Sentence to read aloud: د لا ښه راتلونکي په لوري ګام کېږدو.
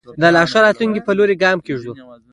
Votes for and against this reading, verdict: 2, 1, accepted